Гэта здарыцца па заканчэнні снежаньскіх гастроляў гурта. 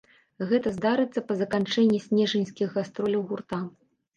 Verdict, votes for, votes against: rejected, 1, 2